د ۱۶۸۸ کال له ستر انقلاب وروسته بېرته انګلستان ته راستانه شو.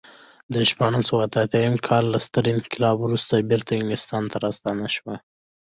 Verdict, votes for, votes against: rejected, 0, 2